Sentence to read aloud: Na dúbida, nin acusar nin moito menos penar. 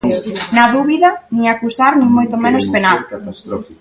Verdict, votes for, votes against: rejected, 0, 2